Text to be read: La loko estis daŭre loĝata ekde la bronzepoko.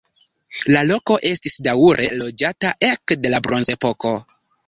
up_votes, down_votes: 1, 2